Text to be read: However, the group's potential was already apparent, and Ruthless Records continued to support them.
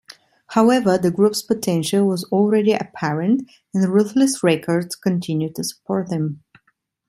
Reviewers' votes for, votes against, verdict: 1, 2, rejected